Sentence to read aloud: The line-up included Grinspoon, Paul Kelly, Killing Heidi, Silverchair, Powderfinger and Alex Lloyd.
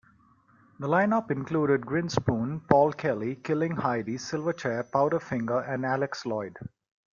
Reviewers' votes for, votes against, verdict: 2, 0, accepted